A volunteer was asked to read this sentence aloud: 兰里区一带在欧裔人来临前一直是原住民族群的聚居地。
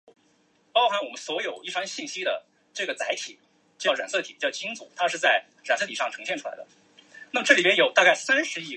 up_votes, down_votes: 0, 3